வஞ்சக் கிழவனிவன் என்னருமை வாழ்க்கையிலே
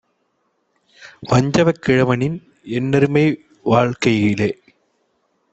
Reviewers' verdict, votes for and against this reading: rejected, 0, 2